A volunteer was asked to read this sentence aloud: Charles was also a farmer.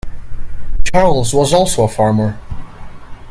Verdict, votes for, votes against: rejected, 2, 3